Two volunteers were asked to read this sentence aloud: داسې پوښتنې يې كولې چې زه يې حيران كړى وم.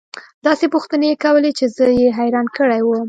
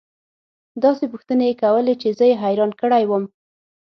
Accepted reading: first